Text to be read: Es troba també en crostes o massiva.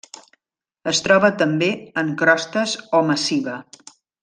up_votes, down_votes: 3, 0